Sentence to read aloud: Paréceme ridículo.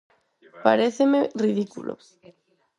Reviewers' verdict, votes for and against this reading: accepted, 4, 0